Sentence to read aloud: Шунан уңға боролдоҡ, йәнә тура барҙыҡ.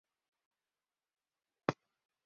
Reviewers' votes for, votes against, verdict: 1, 2, rejected